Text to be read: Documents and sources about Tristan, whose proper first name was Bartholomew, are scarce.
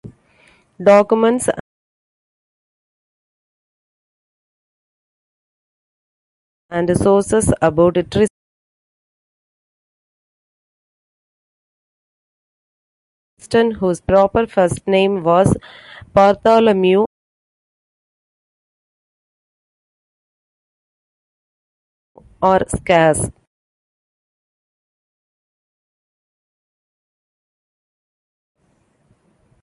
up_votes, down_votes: 0, 2